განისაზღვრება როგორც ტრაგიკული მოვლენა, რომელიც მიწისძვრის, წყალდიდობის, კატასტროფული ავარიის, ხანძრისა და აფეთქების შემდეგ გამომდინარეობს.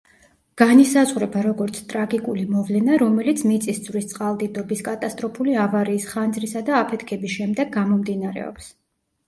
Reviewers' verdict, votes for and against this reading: accepted, 2, 0